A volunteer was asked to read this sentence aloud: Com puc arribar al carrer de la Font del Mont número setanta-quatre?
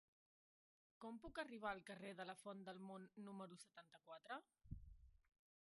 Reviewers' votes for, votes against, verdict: 0, 2, rejected